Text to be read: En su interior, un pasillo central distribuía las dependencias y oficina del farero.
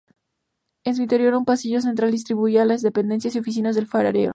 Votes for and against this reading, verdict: 0, 4, rejected